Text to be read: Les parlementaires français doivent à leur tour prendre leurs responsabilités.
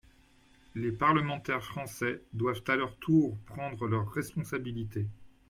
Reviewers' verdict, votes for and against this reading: accepted, 2, 0